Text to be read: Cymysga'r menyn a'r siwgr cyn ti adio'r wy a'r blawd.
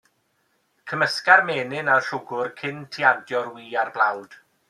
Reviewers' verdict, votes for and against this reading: accepted, 2, 0